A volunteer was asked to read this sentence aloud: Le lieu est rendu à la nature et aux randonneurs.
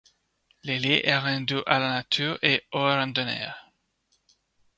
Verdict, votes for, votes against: rejected, 1, 2